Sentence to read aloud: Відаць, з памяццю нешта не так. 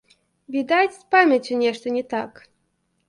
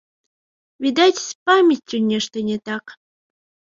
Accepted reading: first